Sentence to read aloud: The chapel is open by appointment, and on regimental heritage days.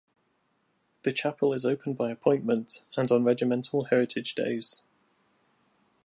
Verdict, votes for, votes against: rejected, 1, 2